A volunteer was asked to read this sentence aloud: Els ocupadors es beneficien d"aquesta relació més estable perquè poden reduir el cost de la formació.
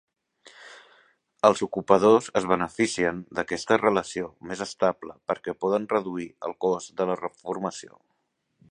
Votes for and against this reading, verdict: 2, 1, accepted